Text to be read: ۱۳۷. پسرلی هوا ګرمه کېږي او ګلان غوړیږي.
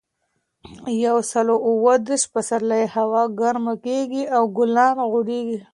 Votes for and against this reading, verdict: 0, 2, rejected